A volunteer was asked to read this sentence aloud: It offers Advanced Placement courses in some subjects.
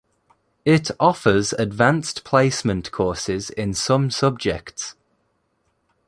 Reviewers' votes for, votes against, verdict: 2, 0, accepted